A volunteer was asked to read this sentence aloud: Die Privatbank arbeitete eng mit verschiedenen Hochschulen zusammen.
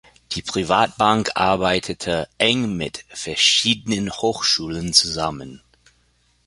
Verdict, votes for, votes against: accepted, 3, 0